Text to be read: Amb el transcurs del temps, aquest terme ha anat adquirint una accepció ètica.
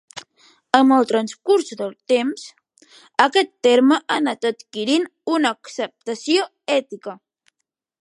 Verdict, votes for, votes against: rejected, 0, 2